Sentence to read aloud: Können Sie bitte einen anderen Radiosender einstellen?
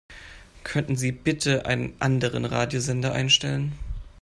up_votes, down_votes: 0, 2